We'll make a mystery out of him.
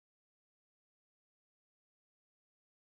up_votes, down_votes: 0, 2